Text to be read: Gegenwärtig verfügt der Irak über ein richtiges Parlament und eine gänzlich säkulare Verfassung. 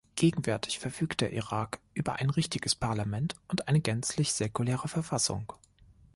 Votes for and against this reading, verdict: 2, 0, accepted